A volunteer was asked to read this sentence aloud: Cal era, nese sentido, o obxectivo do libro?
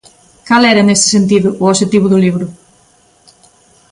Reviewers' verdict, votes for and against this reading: accepted, 2, 0